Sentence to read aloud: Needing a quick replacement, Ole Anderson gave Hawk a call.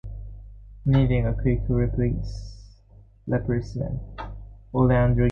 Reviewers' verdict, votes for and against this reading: rejected, 0, 2